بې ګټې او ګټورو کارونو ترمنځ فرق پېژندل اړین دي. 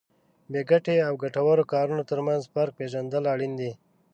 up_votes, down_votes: 2, 0